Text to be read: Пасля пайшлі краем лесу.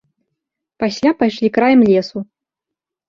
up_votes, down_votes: 2, 0